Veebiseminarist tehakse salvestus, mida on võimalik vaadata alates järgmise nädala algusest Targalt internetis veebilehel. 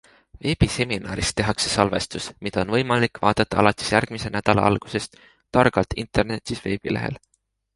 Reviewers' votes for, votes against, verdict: 2, 0, accepted